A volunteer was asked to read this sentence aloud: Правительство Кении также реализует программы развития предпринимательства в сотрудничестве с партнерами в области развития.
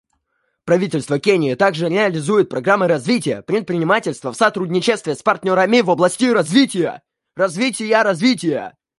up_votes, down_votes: 1, 2